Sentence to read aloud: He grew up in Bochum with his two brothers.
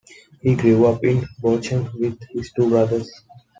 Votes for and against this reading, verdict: 2, 1, accepted